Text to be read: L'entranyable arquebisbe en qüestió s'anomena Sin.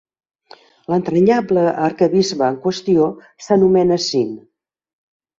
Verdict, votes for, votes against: accepted, 3, 0